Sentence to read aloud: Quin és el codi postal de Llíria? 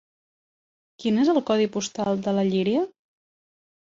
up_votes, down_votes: 2, 3